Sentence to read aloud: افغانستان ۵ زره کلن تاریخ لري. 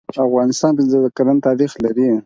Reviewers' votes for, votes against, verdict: 0, 2, rejected